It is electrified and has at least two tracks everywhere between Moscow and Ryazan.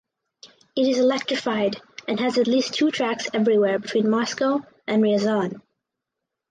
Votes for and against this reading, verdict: 4, 0, accepted